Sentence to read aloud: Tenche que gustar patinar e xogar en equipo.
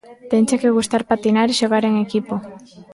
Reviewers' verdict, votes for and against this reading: accepted, 2, 0